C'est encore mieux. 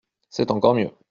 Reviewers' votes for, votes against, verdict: 2, 0, accepted